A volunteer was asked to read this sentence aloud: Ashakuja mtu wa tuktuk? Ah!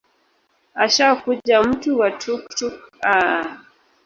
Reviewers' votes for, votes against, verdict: 1, 2, rejected